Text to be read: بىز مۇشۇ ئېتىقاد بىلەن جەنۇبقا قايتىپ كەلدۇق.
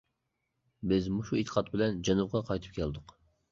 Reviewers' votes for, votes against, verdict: 2, 0, accepted